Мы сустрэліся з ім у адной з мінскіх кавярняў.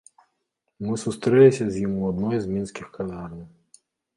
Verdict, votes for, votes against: rejected, 1, 2